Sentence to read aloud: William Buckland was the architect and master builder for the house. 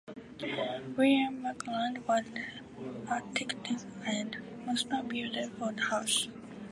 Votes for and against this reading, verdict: 0, 2, rejected